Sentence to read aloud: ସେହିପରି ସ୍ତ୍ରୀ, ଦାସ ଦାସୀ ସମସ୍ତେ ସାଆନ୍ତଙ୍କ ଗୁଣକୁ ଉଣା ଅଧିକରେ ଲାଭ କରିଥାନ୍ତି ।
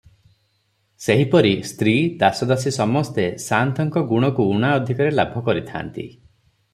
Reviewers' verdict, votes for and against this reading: accepted, 3, 0